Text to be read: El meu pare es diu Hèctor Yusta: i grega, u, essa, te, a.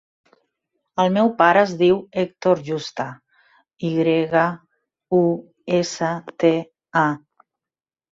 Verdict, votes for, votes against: accepted, 5, 2